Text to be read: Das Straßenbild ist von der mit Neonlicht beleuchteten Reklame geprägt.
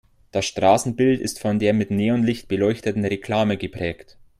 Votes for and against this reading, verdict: 2, 0, accepted